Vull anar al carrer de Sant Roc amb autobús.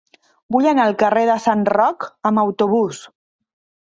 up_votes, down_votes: 3, 0